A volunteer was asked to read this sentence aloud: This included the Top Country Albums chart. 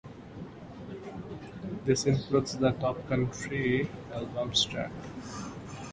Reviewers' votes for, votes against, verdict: 2, 1, accepted